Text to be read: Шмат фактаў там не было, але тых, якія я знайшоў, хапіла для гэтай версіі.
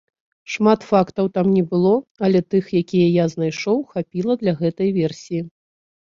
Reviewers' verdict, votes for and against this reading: accepted, 2, 0